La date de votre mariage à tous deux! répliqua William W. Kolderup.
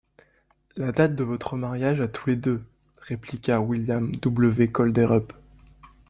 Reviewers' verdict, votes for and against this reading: rejected, 0, 2